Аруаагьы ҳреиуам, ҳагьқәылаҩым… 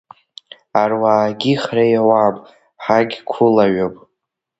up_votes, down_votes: 2, 1